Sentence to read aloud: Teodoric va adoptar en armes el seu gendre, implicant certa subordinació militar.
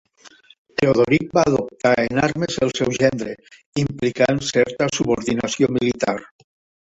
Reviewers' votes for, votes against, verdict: 2, 1, accepted